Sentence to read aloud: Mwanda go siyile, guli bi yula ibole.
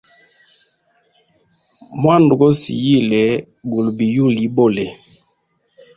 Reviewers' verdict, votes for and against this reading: accepted, 2, 0